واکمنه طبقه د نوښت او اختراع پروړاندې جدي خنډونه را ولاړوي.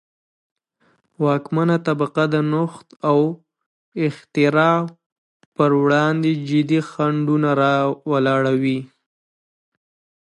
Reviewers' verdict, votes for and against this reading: rejected, 1, 2